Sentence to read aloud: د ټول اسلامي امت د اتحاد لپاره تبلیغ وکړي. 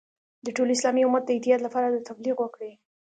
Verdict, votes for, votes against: rejected, 1, 2